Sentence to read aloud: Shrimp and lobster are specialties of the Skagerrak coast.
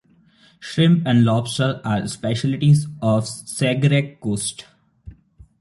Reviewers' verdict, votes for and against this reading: rejected, 0, 2